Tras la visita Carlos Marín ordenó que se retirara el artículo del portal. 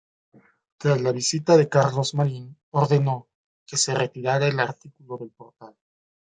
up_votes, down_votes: 0, 2